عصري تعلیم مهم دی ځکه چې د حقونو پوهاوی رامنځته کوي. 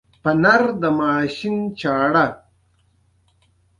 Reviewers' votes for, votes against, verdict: 1, 2, rejected